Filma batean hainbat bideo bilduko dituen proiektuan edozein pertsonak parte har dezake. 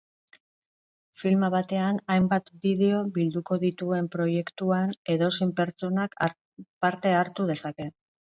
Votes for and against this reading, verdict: 0, 4, rejected